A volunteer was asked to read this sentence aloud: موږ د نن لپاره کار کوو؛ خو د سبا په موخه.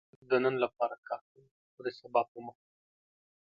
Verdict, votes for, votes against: rejected, 0, 2